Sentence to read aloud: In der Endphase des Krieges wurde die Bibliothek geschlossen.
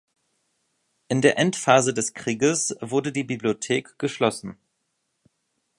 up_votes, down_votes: 2, 0